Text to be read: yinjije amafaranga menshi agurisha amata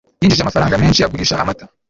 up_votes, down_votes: 1, 2